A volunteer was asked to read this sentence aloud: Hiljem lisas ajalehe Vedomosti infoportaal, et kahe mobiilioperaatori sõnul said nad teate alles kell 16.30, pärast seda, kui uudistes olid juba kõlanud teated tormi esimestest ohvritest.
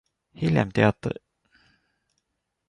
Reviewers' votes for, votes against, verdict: 0, 2, rejected